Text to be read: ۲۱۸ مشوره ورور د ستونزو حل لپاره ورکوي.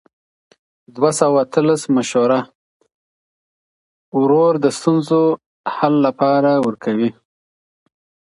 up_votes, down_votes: 0, 2